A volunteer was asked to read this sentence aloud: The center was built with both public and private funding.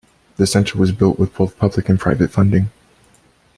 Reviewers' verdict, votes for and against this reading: accepted, 2, 0